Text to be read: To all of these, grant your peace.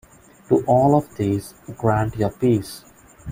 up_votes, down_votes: 2, 0